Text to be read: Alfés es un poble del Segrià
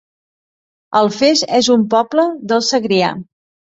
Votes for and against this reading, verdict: 2, 0, accepted